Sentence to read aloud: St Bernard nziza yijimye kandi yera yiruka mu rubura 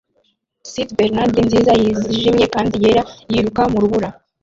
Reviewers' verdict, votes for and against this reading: rejected, 1, 2